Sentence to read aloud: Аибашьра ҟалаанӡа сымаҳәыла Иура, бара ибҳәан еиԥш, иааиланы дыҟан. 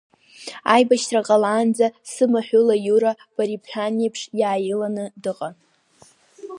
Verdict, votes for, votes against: accepted, 3, 0